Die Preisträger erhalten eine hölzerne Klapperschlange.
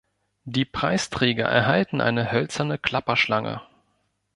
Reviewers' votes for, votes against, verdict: 1, 2, rejected